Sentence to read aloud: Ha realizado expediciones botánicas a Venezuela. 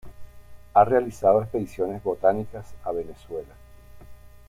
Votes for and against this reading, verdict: 2, 0, accepted